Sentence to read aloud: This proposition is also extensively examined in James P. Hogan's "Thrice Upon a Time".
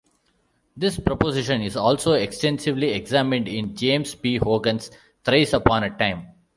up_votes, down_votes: 2, 0